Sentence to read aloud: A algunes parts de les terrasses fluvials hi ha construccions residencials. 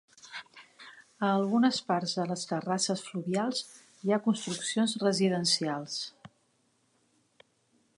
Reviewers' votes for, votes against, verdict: 3, 1, accepted